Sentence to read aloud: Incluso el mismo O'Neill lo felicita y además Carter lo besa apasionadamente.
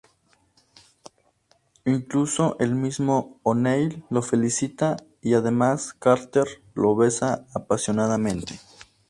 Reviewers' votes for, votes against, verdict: 2, 0, accepted